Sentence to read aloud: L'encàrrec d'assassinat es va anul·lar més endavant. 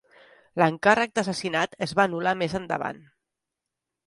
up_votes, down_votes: 3, 0